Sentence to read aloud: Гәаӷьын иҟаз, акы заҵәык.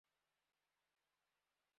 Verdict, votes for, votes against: rejected, 0, 3